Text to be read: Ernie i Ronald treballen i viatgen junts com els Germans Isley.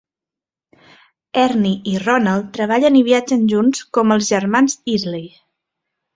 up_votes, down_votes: 2, 0